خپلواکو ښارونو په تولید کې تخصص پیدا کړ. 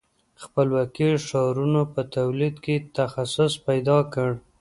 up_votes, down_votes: 2, 0